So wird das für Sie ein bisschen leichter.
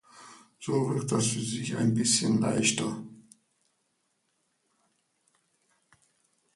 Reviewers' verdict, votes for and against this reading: accepted, 2, 0